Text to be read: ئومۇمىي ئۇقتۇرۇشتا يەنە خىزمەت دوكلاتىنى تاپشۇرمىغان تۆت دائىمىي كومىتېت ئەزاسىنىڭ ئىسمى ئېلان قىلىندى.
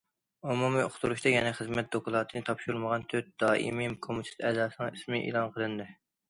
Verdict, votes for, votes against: accepted, 2, 0